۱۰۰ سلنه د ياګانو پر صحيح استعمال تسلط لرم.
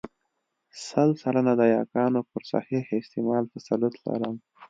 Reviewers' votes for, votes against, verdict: 0, 2, rejected